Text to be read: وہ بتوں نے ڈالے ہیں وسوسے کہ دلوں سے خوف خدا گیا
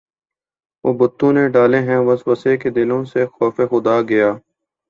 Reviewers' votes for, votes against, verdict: 4, 0, accepted